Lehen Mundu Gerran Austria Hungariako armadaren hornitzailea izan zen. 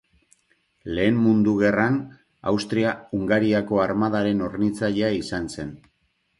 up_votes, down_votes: 2, 0